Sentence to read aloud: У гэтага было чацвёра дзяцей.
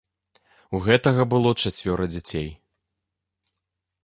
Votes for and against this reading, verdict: 2, 0, accepted